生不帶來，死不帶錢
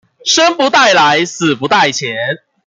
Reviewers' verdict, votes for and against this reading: accepted, 2, 0